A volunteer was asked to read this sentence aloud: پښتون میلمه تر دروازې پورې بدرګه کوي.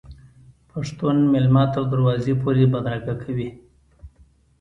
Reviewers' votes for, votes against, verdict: 2, 0, accepted